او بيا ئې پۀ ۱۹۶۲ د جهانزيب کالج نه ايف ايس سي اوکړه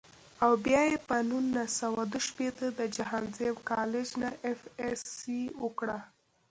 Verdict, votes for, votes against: rejected, 0, 2